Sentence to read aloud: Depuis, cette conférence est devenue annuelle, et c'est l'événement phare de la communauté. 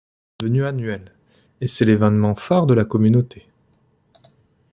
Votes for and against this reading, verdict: 0, 2, rejected